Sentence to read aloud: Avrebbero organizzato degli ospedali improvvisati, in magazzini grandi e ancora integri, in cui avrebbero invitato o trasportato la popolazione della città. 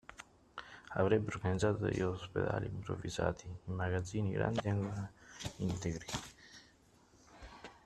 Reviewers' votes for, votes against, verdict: 0, 2, rejected